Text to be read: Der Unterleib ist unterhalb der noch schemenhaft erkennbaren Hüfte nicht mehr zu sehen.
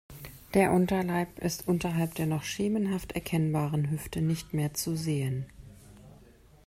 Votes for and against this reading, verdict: 2, 0, accepted